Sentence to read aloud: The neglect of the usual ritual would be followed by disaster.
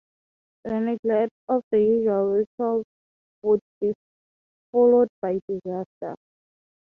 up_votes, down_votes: 3, 0